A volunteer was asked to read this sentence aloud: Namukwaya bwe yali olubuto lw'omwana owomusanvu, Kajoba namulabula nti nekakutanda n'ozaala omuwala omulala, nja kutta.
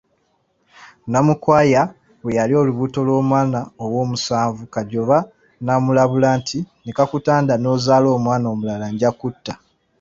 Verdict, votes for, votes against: rejected, 1, 2